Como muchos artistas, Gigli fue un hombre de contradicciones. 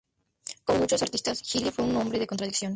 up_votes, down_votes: 0, 2